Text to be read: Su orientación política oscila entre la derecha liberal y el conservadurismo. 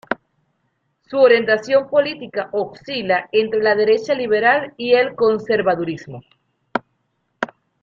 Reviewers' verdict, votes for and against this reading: rejected, 1, 2